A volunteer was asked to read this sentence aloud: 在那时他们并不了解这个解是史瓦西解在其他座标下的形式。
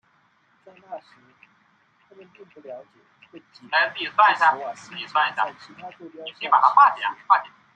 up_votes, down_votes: 0, 3